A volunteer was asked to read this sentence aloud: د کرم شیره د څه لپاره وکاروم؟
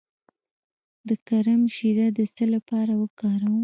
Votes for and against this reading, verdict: 1, 2, rejected